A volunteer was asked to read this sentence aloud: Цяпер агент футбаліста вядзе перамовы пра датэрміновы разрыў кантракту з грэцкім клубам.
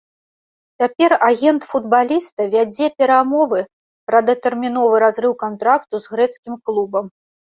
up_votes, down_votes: 2, 0